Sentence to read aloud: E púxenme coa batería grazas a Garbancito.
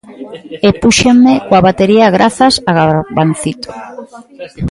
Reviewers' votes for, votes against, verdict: 0, 2, rejected